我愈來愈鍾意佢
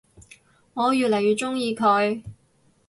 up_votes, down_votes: 4, 4